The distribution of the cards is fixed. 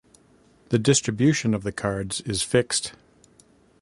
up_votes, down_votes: 2, 0